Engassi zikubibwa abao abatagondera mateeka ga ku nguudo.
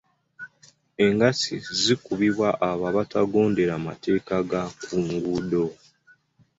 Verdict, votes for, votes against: rejected, 1, 2